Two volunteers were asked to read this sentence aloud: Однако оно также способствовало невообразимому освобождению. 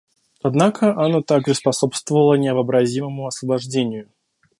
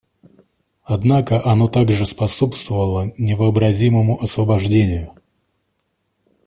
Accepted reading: second